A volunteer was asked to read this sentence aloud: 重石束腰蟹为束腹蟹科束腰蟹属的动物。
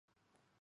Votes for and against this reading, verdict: 0, 3, rejected